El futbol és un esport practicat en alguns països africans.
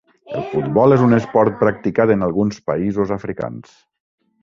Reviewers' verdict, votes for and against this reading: rejected, 2, 3